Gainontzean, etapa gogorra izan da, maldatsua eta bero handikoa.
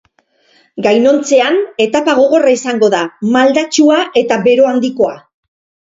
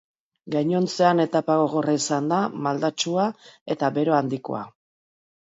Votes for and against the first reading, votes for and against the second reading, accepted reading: 0, 2, 2, 0, second